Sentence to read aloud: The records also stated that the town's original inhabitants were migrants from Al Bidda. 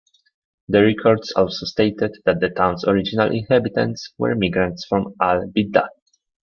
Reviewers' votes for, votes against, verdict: 0, 2, rejected